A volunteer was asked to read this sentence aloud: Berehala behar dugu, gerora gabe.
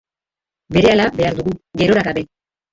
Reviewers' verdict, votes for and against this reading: rejected, 0, 2